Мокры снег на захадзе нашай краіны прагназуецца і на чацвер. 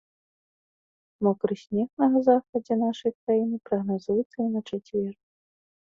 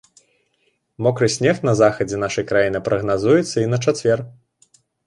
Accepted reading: second